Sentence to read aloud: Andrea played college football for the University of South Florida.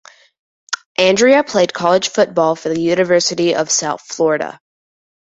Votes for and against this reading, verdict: 7, 0, accepted